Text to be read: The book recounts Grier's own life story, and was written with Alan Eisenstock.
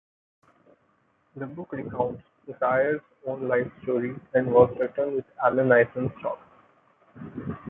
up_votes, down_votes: 0, 2